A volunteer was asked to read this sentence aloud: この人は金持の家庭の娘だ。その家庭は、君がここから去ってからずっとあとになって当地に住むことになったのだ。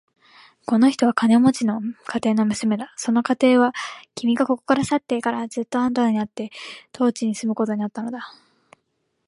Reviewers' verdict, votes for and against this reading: accepted, 2, 0